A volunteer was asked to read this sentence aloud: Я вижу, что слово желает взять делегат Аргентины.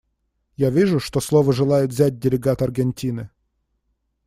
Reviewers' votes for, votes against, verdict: 2, 0, accepted